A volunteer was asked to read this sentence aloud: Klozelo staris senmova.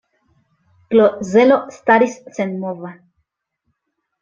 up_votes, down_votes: 2, 0